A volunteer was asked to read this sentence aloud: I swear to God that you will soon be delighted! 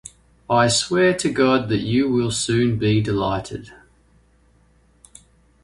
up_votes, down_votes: 2, 0